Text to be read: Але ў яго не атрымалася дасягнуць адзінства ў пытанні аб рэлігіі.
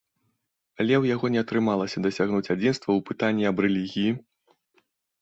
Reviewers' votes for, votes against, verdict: 2, 0, accepted